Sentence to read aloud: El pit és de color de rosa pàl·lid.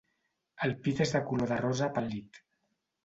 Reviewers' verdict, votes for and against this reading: rejected, 1, 2